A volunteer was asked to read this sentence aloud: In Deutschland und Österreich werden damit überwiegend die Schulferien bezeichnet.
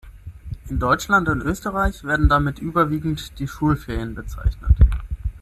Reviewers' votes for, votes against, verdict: 6, 0, accepted